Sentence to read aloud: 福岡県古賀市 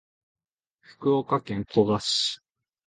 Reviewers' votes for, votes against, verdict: 2, 0, accepted